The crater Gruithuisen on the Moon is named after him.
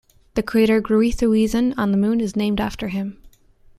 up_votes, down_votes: 2, 0